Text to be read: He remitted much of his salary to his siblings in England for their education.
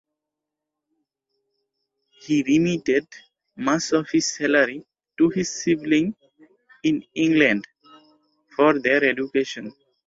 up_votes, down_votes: 3, 6